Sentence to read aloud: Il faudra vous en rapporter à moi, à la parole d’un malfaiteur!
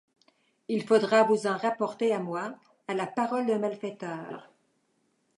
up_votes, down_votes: 2, 1